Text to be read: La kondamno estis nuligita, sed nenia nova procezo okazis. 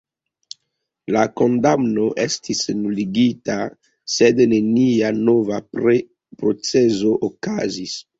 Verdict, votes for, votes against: rejected, 1, 2